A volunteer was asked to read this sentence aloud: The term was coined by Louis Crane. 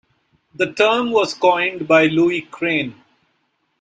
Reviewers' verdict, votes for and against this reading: accepted, 2, 1